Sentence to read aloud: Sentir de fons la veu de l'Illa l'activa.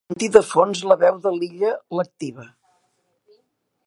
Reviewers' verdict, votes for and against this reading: rejected, 0, 2